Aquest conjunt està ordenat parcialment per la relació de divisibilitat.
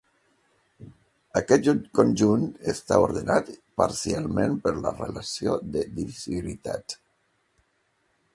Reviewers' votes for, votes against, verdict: 1, 2, rejected